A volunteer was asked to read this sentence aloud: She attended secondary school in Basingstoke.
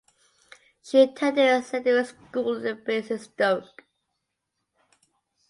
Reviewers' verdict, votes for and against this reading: accepted, 2, 0